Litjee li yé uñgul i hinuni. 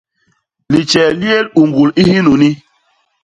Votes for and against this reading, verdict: 1, 2, rejected